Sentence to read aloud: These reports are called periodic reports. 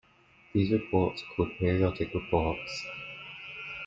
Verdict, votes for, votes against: accepted, 2, 0